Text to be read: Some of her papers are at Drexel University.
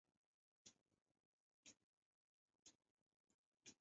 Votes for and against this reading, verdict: 0, 2, rejected